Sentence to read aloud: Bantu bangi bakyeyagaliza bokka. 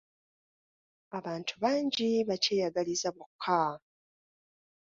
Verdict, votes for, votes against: rejected, 1, 2